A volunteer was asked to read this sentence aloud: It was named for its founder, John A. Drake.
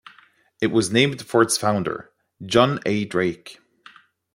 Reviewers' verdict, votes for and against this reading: accepted, 2, 0